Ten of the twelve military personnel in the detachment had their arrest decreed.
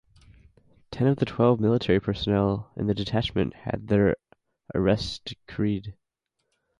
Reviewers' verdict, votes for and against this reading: accepted, 4, 0